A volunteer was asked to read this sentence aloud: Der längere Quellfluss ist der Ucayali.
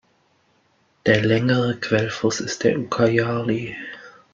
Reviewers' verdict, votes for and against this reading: accepted, 2, 1